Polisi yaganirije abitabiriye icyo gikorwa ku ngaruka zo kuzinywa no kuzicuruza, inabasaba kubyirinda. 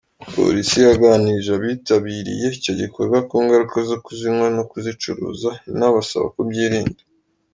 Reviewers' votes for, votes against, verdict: 3, 0, accepted